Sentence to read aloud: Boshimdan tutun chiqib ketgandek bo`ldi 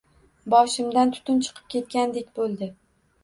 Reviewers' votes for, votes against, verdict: 2, 0, accepted